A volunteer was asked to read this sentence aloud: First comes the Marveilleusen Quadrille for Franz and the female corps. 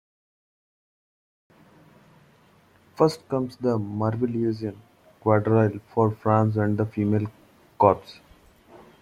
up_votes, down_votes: 2, 1